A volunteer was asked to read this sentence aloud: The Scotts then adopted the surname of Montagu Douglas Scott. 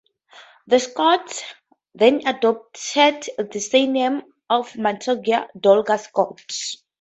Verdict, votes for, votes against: rejected, 0, 2